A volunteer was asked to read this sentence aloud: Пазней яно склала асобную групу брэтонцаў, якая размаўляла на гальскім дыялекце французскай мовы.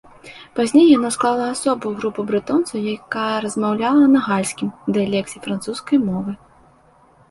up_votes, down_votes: 1, 2